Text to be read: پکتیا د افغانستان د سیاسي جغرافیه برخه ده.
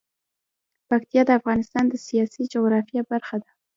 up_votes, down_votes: 2, 0